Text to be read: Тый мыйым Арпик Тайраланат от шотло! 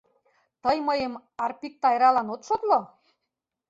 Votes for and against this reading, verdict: 0, 2, rejected